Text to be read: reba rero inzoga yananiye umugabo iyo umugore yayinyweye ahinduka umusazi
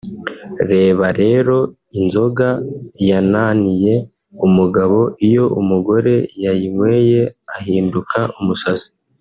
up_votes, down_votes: 0, 2